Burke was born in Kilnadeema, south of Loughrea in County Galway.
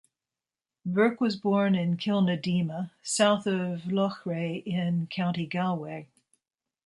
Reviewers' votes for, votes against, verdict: 2, 0, accepted